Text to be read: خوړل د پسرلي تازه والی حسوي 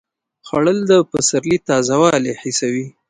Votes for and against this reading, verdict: 1, 2, rejected